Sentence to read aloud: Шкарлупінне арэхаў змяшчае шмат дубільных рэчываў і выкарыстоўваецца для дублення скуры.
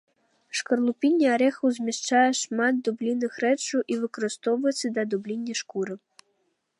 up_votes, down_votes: 0, 2